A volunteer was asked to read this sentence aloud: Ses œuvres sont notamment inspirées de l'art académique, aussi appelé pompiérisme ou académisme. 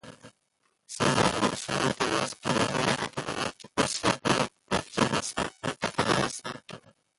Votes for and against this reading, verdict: 0, 2, rejected